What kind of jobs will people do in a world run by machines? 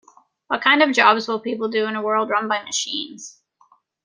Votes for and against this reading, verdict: 2, 0, accepted